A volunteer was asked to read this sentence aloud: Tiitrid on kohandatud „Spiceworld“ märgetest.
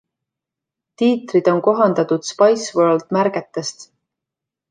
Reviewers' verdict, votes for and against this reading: accepted, 2, 0